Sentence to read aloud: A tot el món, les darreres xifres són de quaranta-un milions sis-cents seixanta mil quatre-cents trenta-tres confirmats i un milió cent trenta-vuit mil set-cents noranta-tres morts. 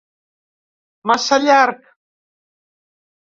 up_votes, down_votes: 0, 3